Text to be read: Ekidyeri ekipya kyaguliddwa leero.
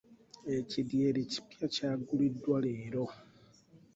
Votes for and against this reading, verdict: 0, 2, rejected